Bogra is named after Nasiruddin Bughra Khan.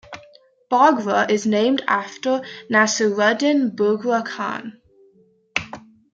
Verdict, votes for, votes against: accepted, 2, 0